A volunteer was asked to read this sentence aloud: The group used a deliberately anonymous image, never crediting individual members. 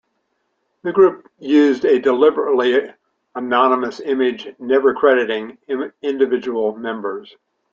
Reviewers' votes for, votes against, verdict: 1, 2, rejected